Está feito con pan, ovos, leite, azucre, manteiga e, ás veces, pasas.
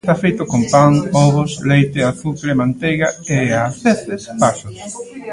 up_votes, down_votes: 0, 2